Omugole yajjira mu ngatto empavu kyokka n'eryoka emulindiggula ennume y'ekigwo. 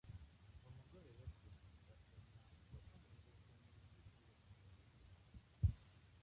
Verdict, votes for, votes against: rejected, 0, 2